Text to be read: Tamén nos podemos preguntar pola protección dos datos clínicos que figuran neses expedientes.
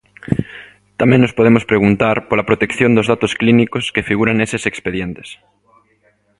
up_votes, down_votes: 2, 0